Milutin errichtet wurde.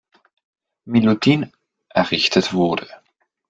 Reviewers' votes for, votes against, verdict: 2, 0, accepted